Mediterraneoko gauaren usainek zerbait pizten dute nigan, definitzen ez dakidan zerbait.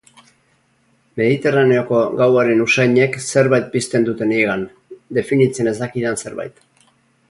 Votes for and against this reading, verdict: 2, 0, accepted